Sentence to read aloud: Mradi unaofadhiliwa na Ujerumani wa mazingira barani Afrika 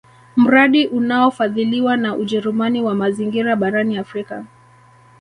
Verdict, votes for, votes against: accepted, 2, 0